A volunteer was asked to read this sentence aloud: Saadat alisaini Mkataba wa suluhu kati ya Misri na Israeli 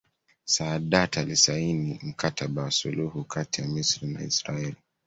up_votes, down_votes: 2, 0